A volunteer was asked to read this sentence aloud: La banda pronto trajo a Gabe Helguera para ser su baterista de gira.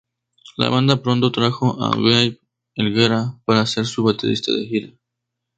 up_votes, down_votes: 2, 0